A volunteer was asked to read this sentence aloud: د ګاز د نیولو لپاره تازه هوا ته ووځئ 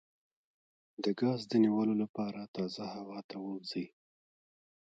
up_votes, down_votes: 0, 2